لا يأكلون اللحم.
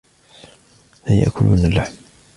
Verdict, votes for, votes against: accepted, 2, 0